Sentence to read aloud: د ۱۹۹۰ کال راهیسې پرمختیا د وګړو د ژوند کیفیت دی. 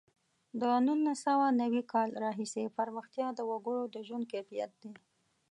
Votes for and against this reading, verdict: 0, 2, rejected